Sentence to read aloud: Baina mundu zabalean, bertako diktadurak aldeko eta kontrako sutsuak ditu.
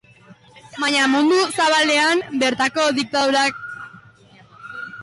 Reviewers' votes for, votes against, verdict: 1, 4, rejected